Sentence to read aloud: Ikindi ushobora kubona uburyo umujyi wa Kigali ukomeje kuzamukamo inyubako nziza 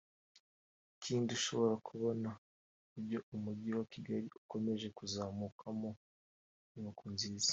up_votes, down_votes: 2, 1